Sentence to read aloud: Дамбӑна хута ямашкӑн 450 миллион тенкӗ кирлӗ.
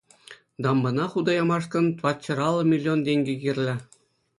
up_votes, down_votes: 0, 2